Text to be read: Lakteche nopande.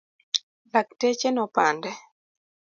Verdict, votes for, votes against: accepted, 2, 0